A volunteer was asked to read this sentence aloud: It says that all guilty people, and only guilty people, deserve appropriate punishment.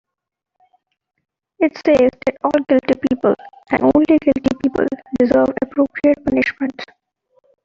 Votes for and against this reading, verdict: 2, 1, accepted